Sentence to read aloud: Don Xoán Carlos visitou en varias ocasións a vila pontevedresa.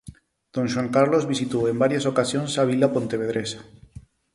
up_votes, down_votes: 4, 0